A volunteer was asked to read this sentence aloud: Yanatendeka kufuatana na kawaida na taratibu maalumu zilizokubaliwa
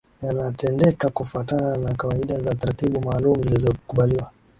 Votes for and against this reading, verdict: 3, 0, accepted